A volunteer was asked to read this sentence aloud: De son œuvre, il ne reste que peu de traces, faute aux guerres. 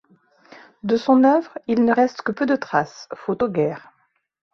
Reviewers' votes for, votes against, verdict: 2, 0, accepted